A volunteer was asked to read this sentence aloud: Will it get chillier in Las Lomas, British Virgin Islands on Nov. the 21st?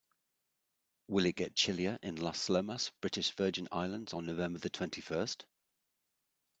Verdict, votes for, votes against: rejected, 0, 2